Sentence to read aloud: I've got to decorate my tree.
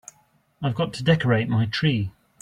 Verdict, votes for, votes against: accepted, 2, 0